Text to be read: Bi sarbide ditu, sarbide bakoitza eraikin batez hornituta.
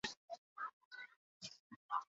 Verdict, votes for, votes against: rejected, 0, 4